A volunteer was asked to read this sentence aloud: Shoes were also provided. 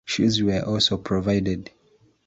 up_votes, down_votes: 2, 0